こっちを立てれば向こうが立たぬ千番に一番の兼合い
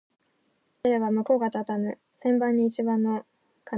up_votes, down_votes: 0, 2